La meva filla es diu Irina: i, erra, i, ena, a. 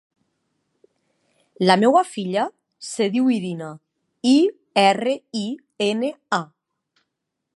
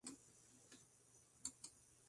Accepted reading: first